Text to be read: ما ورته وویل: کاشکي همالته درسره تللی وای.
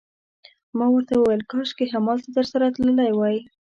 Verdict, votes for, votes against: accepted, 2, 0